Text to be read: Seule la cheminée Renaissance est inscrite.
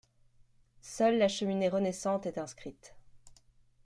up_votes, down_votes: 0, 2